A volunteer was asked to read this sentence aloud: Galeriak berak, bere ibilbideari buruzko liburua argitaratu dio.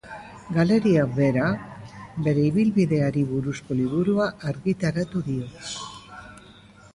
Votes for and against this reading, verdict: 1, 2, rejected